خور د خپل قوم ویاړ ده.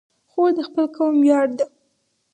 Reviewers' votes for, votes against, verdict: 2, 2, rejected